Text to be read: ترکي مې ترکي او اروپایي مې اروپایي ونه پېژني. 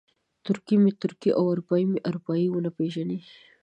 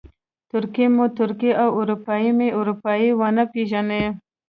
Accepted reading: first